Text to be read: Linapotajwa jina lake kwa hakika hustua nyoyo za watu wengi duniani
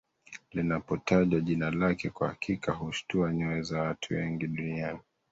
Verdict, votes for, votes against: rejected, 1, 2